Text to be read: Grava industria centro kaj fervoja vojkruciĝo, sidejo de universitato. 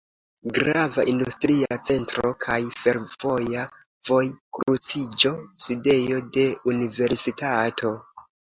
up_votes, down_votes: 2, 0